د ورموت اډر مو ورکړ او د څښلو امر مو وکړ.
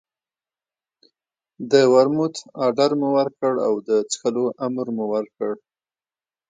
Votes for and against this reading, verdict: 2, 0, accepted